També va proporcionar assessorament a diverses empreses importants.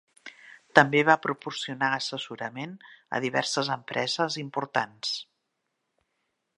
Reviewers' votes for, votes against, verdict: 3, 0, accepted